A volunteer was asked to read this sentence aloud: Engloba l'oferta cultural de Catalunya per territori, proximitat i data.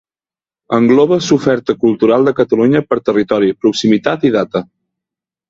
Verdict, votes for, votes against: rejected, 0, 2